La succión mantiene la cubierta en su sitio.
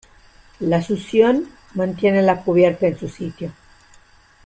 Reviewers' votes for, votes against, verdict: 2, 0, accepted